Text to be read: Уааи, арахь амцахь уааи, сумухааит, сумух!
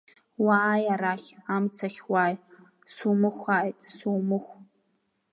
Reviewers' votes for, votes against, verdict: 2, 0, accepted